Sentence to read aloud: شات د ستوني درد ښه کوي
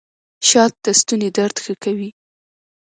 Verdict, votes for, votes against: accepted, 2, 0